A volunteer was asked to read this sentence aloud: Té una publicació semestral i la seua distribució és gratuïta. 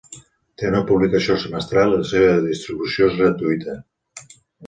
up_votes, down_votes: 1, 2